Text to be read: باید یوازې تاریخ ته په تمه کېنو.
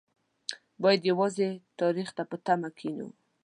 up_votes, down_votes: 2, 0